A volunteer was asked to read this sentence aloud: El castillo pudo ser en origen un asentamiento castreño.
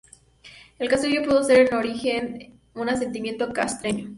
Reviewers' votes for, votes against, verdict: 2, 2, rejected